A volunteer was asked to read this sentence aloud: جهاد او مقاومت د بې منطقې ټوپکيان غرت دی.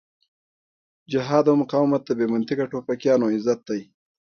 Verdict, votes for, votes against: rejected, 0, 2